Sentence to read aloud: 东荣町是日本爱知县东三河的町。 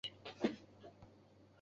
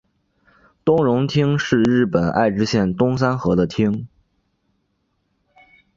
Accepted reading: second